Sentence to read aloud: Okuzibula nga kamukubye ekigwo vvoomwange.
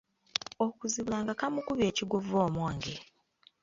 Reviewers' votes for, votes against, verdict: 1, 2, rejected